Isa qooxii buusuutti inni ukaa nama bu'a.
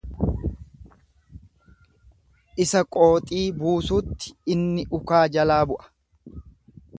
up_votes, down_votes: 1, 2